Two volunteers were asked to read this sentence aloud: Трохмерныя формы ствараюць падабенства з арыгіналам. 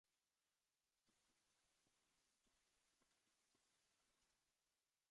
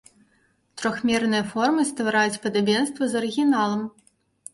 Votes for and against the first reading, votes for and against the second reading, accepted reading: 0, 2, 3, 0, second